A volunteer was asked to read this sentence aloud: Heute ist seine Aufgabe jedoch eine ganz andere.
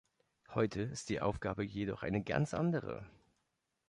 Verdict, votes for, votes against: rejected, 0, 2